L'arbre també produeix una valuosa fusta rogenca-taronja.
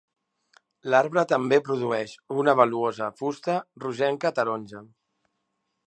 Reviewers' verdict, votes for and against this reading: accepted, 2, 0